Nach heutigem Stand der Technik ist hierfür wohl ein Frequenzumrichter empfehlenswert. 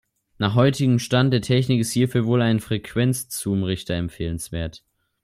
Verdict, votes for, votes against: rejected, 0, 2